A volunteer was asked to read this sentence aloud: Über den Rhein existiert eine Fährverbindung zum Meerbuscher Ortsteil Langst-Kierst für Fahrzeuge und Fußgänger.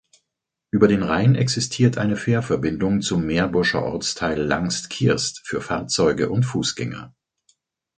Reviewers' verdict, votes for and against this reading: accepted, 4, 0